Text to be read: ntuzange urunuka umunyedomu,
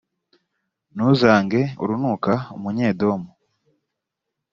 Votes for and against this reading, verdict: 2, 0, accepted